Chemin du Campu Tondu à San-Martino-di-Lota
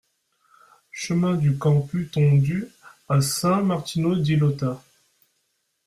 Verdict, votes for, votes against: rejected, 1, 2